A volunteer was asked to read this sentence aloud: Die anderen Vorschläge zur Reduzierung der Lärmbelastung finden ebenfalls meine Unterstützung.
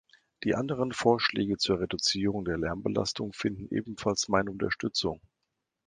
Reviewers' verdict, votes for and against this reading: accepted, 3, 0